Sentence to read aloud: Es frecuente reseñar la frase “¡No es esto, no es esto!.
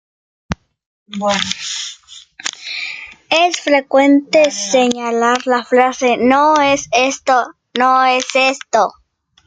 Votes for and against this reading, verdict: 1, 2, rejected